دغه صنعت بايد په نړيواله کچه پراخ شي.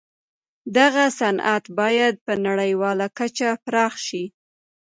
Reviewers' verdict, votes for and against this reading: accepted, 2, 0